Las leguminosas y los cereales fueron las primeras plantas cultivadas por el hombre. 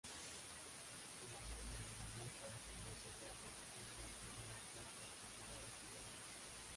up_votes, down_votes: 0, 2